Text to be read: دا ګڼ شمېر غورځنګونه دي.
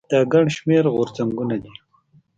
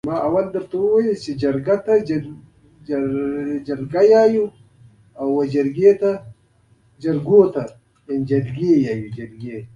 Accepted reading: first